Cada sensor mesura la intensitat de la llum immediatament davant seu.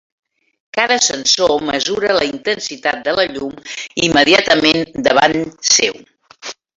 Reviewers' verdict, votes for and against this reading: accepted, 2, 0